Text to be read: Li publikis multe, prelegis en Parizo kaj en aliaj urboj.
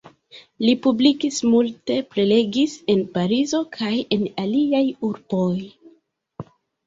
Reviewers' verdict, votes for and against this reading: rejected, 1, 2